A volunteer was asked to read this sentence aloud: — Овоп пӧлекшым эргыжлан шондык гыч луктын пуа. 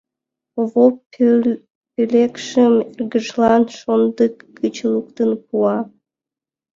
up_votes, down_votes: 2, 1